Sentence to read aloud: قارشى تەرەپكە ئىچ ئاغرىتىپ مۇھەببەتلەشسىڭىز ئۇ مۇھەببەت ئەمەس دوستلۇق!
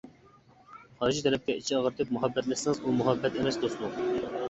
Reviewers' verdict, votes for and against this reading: rejected, 1, 2